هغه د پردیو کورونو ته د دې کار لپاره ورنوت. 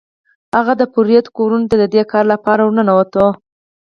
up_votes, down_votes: 4, 2